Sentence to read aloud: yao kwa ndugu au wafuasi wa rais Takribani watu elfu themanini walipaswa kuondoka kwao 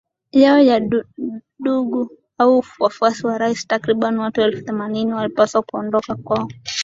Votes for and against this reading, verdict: 10, 4, accepted